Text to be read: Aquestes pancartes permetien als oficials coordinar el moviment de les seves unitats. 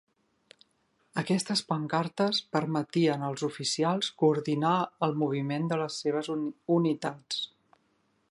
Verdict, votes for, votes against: rejected, 1, 2